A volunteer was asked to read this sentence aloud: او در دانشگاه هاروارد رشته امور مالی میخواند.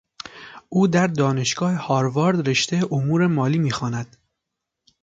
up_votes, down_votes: 2, 0